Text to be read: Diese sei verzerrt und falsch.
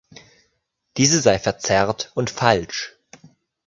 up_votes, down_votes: 3, 0